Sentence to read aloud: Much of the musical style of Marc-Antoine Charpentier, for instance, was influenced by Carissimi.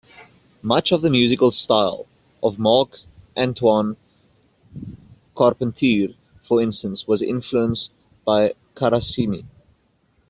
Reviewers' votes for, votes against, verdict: 0, 2, rejected